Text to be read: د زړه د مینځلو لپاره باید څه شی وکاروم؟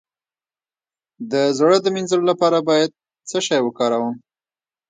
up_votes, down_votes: 0, 2